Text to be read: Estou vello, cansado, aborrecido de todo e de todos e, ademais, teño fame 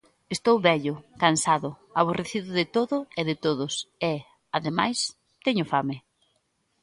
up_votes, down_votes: 3, 0